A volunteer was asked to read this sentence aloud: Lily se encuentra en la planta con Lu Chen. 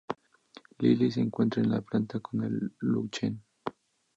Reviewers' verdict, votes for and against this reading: accepted, 2, 0